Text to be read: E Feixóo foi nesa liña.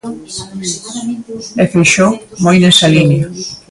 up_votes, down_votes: 0, 2